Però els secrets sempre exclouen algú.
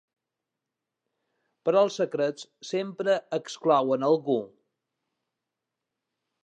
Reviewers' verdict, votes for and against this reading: accepted, 2, 0